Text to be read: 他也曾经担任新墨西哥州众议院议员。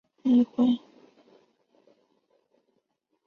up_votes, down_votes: 2, 3